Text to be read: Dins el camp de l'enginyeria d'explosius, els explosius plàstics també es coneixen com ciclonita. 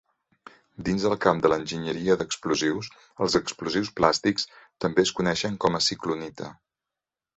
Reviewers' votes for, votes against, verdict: 1, 2, rejected